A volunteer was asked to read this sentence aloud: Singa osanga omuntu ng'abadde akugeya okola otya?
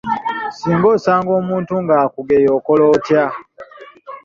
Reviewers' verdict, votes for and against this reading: rejected, 1, 2